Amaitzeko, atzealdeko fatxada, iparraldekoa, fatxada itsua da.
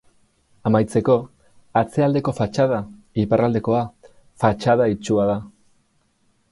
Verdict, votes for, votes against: accepted, 4, 0